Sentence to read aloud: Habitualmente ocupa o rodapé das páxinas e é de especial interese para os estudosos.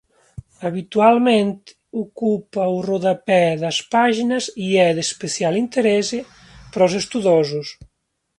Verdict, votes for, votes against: accepted, 2, 1